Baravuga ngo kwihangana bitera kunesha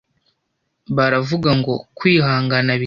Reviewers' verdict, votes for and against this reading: rejected, 0, 2